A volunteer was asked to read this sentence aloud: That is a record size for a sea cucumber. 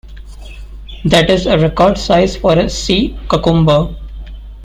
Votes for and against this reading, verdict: 0, 2, rejected